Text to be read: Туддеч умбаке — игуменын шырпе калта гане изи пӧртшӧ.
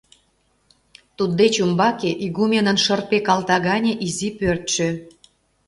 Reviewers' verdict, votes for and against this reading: accepted, 2, 0